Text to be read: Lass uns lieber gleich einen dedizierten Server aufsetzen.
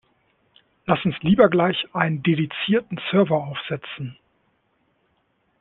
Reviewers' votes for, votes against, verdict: 2, 0, accepted